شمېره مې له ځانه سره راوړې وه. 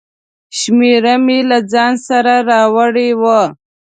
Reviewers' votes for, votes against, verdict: 2, 0, accepted